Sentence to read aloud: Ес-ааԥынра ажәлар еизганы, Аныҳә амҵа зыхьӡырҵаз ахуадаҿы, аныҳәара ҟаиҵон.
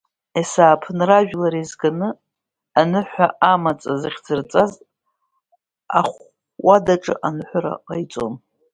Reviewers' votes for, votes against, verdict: 0, 2, rejected